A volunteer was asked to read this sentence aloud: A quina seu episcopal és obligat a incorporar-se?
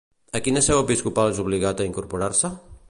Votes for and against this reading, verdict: 2, 0, accepted